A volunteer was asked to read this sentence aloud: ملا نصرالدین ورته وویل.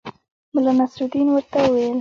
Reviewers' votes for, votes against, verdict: 1, 2, rejected